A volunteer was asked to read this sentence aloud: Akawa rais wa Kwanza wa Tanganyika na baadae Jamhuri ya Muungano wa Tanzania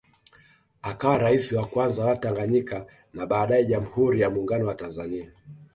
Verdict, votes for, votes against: accepted, 2, 0